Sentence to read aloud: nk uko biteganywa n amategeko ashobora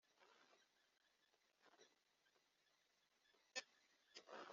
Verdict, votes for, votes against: rejected, 1, 2